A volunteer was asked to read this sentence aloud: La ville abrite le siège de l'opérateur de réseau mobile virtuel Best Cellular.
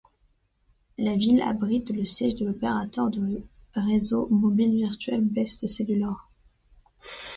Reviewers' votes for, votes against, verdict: 2, 0, accepted